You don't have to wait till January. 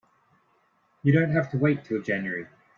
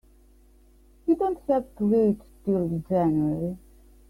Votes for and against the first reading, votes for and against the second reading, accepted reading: 2, 0, 0, 2, first